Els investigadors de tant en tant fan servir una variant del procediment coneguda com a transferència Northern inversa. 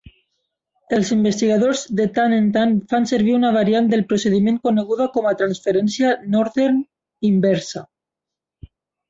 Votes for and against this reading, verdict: 8, 0, accepted